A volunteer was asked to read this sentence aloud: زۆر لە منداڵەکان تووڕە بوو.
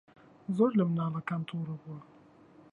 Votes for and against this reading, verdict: 0, 3, rejected